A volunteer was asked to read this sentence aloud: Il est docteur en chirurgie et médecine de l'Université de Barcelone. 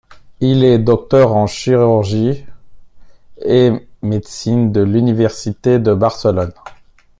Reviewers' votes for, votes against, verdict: 2, 3, rejected